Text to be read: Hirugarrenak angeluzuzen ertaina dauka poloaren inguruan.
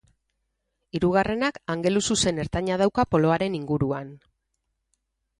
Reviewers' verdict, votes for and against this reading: rejected, 2, 2